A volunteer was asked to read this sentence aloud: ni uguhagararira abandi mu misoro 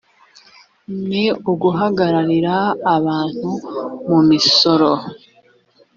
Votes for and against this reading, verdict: 1, 2, rejected